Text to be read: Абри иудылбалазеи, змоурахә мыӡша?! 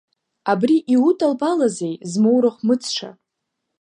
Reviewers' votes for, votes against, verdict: 0, 2, rejected